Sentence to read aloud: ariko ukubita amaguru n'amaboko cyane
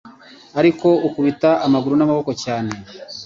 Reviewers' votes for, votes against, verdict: 2, 1, accepted